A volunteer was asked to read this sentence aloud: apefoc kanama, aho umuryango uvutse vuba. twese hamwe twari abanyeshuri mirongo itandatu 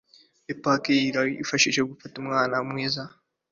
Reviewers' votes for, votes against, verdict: 2, 1, accepted